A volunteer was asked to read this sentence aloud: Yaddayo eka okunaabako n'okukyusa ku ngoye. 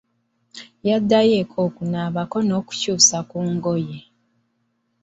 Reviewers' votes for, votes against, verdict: 2, 0, accepted